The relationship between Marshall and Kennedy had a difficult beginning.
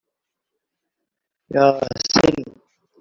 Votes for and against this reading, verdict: 0, 2, rejected